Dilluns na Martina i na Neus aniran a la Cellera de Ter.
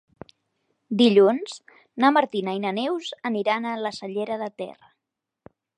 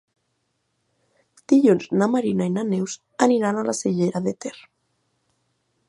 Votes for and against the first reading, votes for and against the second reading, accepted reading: 3, 0, 1, 2, first